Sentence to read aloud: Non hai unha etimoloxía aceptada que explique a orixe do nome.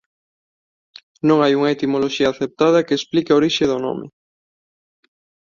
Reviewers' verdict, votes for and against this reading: accepted, 2, 0